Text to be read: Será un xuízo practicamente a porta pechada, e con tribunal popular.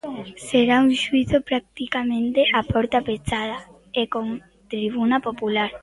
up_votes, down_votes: 1, 2